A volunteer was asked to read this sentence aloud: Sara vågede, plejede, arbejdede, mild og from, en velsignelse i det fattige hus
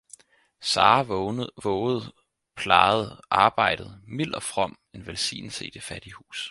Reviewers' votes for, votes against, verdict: 0, 4, rejected